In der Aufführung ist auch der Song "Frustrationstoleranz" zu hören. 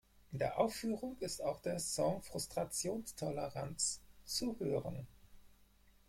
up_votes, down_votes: 2, 4